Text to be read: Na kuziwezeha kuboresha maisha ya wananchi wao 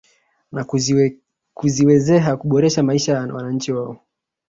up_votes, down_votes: 2, 1